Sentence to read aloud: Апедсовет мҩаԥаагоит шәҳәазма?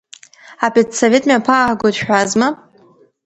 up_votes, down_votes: 1, 2